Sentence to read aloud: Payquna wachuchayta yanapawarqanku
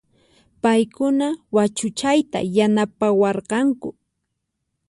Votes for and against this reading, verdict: 4, 0, accepted